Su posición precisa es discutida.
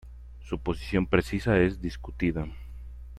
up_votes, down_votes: 0, 2